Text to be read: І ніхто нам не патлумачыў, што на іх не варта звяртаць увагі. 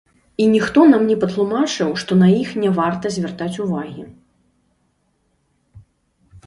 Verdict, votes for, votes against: rejected, 0, 2